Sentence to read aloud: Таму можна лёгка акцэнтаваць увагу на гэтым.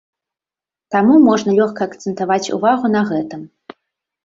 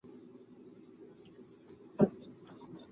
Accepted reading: first